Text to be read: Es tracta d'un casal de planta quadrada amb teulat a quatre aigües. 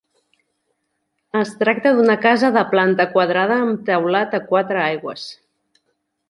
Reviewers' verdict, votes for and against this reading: rejected, 1, 2